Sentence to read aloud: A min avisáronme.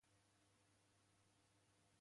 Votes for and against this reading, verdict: 0, 2, rejected